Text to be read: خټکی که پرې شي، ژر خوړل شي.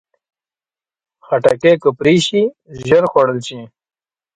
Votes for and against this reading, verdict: 2, 0, accepted